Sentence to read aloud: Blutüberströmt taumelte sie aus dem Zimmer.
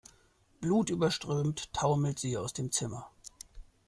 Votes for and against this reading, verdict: 1, 2, rejected